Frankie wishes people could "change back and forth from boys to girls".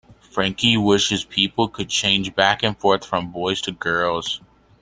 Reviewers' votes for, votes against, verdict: 2, 0, accepted